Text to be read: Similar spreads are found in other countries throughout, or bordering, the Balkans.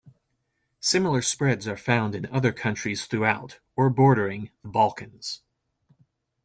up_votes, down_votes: 1, 2